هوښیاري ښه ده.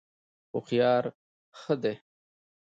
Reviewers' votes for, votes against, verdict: 2, 0, accepted